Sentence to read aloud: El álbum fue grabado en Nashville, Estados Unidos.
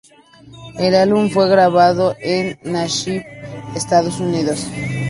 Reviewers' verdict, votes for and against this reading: rejected, 2, 2